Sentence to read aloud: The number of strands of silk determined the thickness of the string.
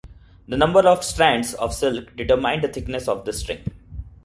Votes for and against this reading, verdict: 2, 1, accepted